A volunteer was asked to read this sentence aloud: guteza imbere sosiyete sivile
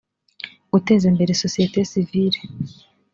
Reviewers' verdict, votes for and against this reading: accepted, 2, 0